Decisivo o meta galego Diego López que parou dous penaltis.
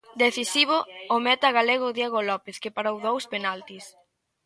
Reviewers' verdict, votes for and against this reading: rejected, 0, 2